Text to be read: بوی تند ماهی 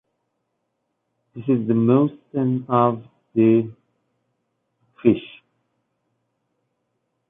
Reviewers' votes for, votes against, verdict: 0, 2, rejected